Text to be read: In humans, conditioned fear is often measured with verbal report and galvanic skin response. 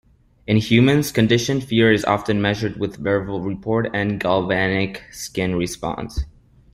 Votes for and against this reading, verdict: 2, 0, accepted